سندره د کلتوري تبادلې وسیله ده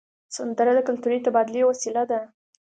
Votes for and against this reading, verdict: 3, 0, accepted